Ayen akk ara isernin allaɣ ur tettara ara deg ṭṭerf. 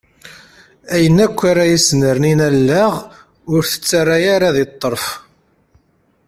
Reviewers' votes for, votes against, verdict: 2, 0, accepted